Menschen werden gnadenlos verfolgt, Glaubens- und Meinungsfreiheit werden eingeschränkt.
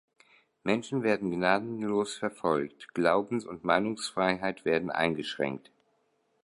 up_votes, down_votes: 2, 0